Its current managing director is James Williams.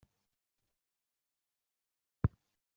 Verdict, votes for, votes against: rejected, 0, 2